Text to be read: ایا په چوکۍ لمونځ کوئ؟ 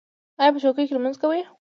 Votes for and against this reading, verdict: 2, 0, accepted